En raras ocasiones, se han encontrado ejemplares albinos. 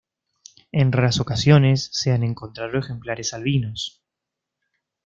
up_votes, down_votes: 2, 0